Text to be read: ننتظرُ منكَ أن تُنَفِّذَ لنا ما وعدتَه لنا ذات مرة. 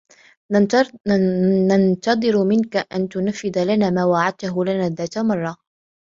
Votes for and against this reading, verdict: 2, 0, accepted